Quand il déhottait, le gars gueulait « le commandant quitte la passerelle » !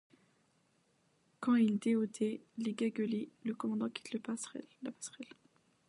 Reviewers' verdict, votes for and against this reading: rejected, 0, 2